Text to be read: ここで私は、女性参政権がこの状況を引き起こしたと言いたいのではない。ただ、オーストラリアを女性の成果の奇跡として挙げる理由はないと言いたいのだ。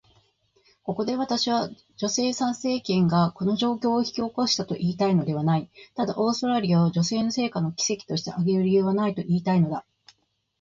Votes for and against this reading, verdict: 2, 0, accepted